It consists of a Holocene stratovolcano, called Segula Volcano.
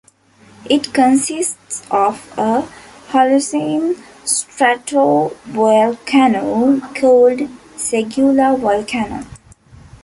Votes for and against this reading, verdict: 2, 0, accepted